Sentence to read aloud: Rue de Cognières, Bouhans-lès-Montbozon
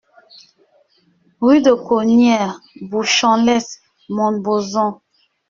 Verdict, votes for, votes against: rejected, 1, 2